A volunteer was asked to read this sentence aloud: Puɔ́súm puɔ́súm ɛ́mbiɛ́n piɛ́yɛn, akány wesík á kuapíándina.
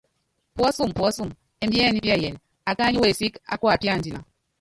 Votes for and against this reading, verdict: 0, 2, rejected